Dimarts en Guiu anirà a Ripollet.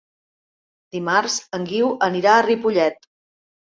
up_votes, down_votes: 2, 0